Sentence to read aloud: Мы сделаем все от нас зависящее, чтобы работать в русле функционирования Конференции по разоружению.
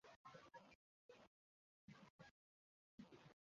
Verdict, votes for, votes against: rejected, 0, 2